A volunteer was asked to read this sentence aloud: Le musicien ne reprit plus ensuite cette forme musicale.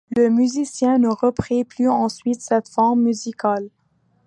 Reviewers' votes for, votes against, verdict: 2, 0, accepted